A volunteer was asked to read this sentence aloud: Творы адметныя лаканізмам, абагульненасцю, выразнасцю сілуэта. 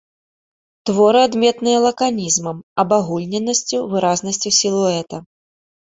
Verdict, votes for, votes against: accepted, 2, 0